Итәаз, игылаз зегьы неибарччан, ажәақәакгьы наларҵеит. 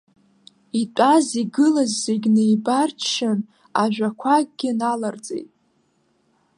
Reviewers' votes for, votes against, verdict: 2, 0, accepted